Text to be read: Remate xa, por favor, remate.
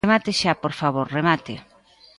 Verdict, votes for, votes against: accepted, 2, 1